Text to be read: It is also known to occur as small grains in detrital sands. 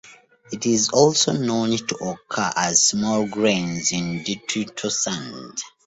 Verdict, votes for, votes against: rejected, 0, 2